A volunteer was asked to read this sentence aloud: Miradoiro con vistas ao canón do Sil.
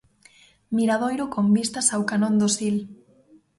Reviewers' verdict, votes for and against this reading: accepted, 2, 0